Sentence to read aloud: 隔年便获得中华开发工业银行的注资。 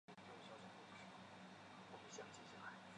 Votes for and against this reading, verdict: 0, 3, rejected